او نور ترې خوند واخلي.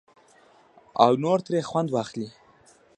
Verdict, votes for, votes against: rejected, 0, 2